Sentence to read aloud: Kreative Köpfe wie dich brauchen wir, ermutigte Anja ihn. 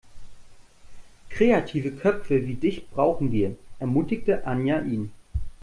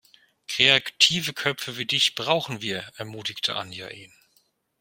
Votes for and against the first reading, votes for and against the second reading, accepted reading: 2, 0, 0, 2, first